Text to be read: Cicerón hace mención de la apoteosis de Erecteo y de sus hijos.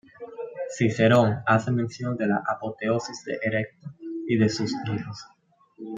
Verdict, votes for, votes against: rejected, 1, 2